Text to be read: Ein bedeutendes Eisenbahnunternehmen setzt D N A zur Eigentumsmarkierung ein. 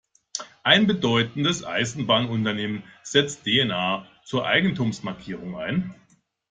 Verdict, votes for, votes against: accepted, 2, 0